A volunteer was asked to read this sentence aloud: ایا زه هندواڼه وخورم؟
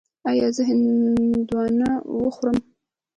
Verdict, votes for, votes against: rejected, 1, 2